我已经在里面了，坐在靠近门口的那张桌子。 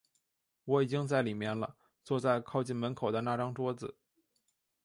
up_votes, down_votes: 3, 0